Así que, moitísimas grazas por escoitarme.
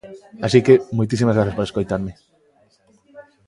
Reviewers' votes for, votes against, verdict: 2, 0, accepted